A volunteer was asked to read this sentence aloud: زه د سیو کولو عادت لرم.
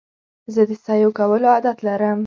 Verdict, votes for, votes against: accepted, 2, 0